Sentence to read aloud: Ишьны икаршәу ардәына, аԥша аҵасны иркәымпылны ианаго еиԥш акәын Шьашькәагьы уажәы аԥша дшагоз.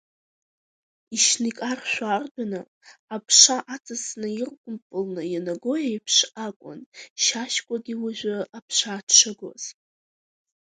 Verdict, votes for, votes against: accepted, 4, 0